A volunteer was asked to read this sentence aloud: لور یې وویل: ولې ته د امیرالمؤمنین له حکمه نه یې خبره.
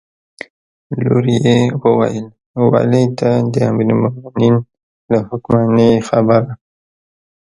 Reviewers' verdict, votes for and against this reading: accepted, 2, 1